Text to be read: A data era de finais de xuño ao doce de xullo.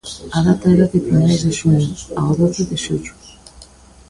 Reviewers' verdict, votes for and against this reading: rejected, 0, 2